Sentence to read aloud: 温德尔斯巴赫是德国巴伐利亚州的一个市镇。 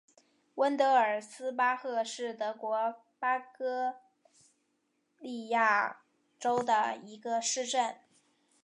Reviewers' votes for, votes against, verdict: 0, 5, rejected